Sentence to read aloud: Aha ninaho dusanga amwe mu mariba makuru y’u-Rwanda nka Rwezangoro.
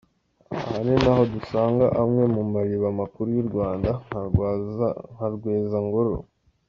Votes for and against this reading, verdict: 0, 2, rejected